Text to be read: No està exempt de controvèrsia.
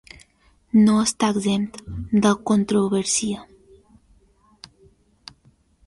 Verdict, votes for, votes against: rejected, 0, 2